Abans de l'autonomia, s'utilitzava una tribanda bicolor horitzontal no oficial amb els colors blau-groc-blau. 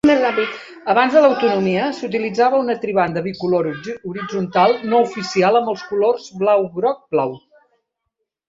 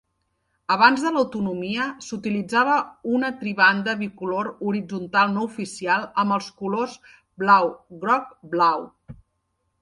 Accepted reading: second